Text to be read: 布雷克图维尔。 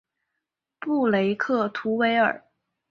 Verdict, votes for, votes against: accepted, 2, 0